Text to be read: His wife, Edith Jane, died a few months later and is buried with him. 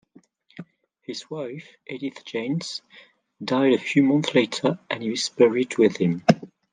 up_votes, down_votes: 1, 2